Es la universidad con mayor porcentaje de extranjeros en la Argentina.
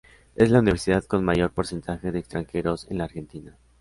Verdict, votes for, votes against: accepted, 2, 0